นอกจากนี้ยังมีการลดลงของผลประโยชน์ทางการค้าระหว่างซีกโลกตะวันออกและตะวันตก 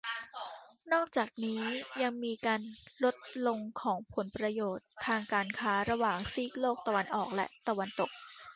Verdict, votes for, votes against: rejected, 0, 2